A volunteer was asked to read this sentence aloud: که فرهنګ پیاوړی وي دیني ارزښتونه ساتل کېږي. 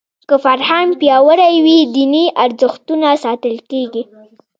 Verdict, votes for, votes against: rejected, 0, 2